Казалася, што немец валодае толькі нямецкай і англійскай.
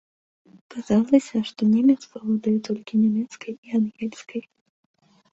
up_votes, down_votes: 0, 2